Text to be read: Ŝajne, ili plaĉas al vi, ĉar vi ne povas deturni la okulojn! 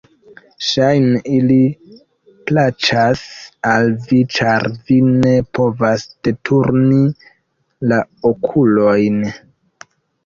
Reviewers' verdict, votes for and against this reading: accepted, 2, 0